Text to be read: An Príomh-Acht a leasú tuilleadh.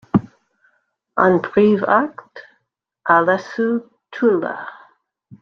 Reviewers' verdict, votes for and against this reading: rejected, 1, 2